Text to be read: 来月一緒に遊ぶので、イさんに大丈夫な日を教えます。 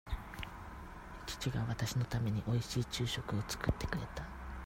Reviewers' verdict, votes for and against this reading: rejected, 0, 2